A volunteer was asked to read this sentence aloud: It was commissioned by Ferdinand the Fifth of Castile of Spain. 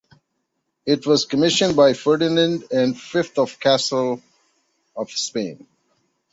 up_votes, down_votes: 1, 2